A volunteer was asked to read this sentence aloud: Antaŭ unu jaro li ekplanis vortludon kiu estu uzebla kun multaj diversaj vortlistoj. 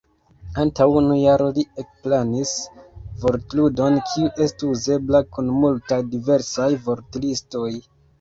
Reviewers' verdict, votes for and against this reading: rejected, 0, 2